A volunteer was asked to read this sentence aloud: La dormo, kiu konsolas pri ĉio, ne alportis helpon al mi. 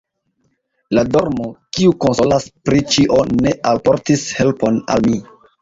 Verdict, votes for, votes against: rejected, 2, 3